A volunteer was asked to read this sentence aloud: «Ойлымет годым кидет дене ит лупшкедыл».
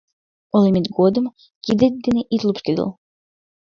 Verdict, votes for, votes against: rejected, 1, 2